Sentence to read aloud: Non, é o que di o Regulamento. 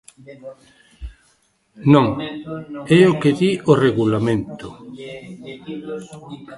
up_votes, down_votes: 0, 2